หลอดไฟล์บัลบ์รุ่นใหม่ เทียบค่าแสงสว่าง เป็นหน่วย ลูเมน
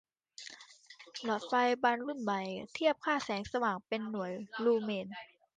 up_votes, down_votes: 2, 0